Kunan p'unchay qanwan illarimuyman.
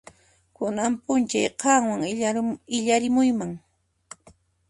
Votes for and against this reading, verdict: 1, 2, rejected